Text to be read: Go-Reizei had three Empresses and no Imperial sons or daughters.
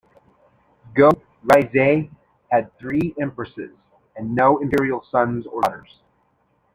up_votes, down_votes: 0, 2